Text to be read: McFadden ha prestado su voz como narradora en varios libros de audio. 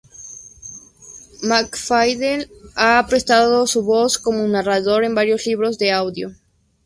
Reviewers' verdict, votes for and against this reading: rejected, 0, 2